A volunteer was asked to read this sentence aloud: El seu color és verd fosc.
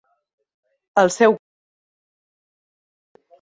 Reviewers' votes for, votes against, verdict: 0, 2, rejected